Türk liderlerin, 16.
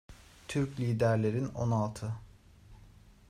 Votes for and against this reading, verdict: 0, 2, rejected